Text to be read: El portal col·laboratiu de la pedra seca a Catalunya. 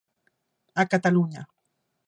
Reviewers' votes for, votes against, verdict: 1, 2, rejected